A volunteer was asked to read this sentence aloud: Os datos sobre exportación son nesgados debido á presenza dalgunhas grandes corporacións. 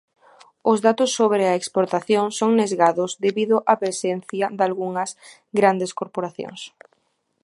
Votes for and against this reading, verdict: 0, 3, rejected